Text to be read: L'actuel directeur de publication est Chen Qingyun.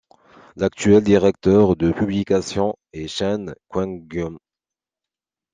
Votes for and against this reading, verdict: 2, 0, accepted